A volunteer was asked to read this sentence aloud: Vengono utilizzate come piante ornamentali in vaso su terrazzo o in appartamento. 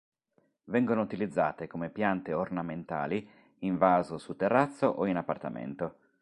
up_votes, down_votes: 3, 0